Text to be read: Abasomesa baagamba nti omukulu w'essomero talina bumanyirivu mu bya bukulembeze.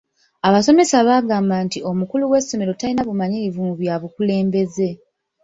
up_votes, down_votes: 0, 2